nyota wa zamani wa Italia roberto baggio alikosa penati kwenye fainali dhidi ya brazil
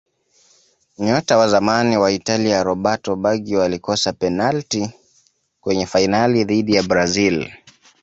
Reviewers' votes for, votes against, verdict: 2, 0, accepted